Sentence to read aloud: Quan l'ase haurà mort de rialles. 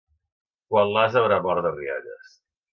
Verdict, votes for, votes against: rejected, 1, 2